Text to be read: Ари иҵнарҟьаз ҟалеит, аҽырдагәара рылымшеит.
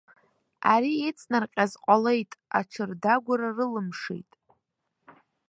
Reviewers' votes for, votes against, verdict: 2, 0, accepted